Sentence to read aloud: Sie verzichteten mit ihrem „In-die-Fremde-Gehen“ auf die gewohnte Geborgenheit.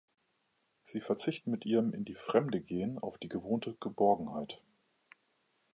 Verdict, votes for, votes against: rejected, 0, 2